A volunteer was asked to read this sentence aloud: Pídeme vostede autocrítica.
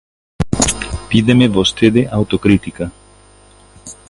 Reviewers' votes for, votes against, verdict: 2, 1, accepted